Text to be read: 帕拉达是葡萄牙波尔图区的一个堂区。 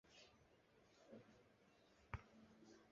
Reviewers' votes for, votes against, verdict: 0, 2, rejected